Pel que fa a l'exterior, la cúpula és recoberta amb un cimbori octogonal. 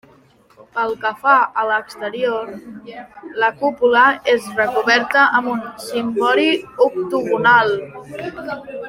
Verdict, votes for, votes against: accepted, 2, 1